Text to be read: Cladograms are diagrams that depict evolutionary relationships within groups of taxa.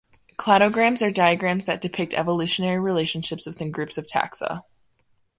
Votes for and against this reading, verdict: 2, 0, accepted